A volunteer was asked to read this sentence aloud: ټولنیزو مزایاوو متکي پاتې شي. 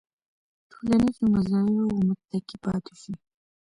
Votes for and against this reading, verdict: 1, 2, rejected